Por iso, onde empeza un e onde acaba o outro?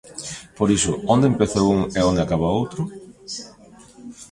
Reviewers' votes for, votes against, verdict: 2, 0, accepted